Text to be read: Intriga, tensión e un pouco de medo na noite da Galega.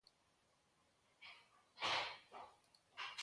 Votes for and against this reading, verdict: 0, 2, rejected